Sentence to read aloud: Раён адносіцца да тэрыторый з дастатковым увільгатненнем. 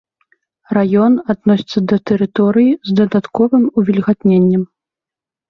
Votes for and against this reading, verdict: 0, 2, rejected